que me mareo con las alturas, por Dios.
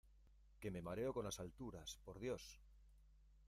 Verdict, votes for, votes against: rejected, 1, 2